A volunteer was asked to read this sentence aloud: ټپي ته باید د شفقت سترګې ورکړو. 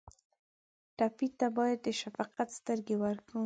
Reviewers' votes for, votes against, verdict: 2, 0, accepted